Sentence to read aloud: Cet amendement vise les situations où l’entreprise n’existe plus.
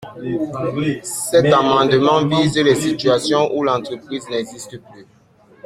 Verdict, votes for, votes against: accepted, 2, 0